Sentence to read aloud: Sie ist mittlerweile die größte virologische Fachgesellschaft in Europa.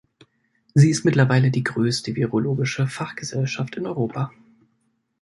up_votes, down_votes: 2, 0